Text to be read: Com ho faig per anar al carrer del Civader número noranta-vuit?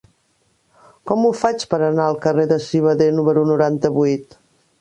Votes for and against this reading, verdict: 1, 2, rejected